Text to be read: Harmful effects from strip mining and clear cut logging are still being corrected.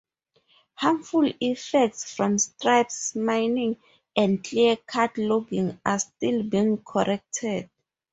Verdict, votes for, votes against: rejected, 2, 4